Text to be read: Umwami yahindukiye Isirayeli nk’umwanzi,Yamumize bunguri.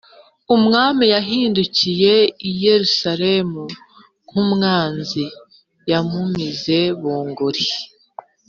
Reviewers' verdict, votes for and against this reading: rejected, 3, 4